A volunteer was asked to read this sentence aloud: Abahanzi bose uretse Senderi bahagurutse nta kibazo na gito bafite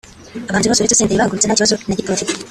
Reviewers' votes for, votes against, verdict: 0, 2, rejected